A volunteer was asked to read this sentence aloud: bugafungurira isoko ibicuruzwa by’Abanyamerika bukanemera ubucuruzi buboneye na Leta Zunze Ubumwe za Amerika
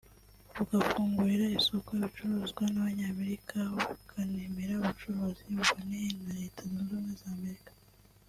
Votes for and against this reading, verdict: 1, 2, rejected